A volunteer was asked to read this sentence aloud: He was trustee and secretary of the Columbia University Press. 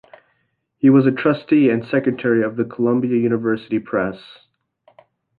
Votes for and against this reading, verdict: 2, 0, accepted